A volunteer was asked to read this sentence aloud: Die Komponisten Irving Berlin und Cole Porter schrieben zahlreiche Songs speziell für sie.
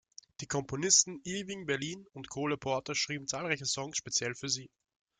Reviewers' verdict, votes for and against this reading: rejected, 1, 2